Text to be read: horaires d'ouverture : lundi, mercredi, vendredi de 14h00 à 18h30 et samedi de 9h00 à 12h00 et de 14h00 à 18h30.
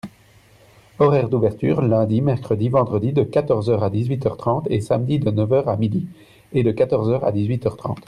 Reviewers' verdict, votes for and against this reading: rejected, 0, 2